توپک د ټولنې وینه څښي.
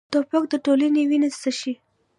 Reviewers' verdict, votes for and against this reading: accepted, 2, 1